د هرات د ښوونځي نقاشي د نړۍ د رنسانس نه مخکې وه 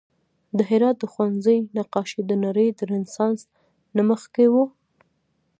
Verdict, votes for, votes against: rejected, 0, 2